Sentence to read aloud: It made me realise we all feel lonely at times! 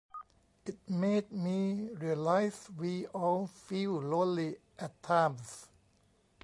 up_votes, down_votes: 1, 2